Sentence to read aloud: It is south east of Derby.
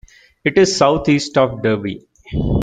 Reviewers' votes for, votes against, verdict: 2, 0, accepted